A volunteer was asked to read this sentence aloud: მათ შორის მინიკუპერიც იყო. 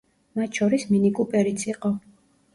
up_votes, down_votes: 2, 0